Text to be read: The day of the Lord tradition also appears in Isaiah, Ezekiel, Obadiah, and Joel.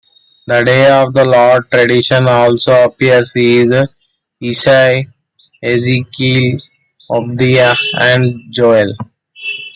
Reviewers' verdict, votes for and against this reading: rejected, 0, 2